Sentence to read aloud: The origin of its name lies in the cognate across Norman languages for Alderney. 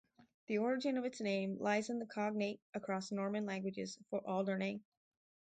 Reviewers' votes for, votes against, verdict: 4, 0, accepted